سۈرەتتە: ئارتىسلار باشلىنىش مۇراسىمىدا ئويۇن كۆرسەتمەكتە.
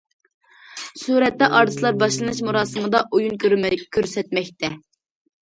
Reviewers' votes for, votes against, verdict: 0, 2, rejected